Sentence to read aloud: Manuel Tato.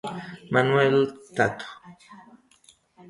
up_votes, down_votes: 0, 2